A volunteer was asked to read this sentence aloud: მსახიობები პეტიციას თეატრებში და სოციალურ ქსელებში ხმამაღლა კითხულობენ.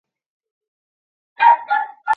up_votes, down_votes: 0, 2